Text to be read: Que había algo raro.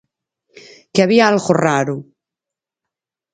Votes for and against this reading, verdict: 4, 0, accepted